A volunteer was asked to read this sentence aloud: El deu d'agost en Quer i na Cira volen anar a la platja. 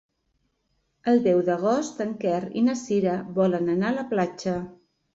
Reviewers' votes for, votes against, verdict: 3, 0, accepted